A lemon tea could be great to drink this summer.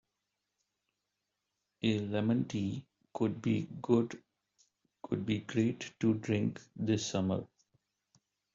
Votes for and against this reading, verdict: 1, 2, rejected